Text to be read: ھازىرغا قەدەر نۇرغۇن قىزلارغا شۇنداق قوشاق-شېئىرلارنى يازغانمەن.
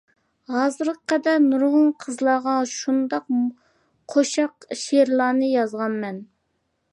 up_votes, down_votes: 0, 2